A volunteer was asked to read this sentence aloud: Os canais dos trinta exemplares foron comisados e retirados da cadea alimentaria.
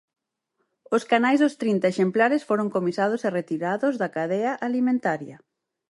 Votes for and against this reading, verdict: 4, 0, accepted